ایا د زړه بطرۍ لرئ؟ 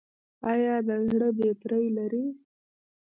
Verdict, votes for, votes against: rejected, 1, 2